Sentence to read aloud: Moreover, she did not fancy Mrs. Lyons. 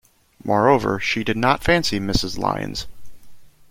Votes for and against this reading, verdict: 2, 0, accepted